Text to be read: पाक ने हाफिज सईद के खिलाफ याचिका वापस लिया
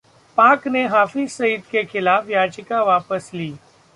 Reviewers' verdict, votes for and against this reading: rejected, 0, 2